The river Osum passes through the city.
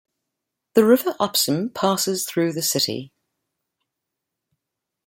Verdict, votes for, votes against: rejected, 1, 2